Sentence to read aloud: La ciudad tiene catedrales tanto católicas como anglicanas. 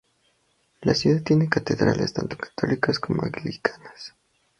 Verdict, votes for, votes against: accepted, 2, 0